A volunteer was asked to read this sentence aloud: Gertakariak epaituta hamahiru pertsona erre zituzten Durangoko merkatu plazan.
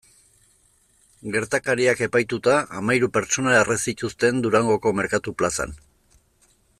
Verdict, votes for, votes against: accepted, 2, 0